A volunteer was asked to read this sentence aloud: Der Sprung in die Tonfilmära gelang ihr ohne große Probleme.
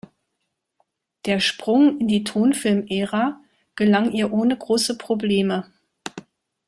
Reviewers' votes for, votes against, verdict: 2, 0, accepted